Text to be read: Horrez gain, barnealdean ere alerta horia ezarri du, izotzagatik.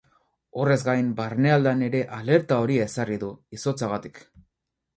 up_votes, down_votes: 4, 0